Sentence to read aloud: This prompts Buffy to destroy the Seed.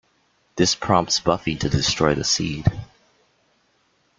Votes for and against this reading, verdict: 2, 1, accepted